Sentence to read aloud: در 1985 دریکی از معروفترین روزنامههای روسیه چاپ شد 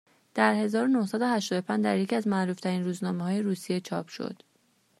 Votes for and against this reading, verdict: 0, 2, rejected